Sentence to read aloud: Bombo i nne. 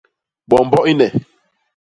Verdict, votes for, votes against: accepted, 2, 0